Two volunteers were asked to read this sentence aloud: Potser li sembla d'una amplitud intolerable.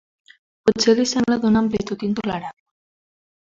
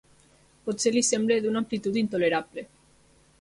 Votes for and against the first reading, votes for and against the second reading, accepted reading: 0, 2, 2, 0, second